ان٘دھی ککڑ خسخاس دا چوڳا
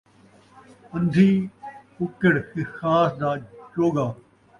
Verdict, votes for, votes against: accepted, 2, 0